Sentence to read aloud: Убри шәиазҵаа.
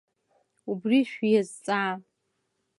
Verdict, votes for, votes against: rejected, 1, 2